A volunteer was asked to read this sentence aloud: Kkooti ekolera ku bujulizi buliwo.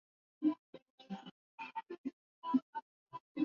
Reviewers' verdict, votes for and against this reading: rejected, 0, 3